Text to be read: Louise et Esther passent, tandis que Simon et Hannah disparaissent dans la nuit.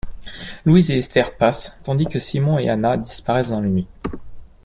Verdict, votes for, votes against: accepted, 2, 0